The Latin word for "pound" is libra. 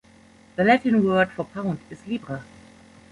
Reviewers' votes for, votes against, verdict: 3, 0, accepted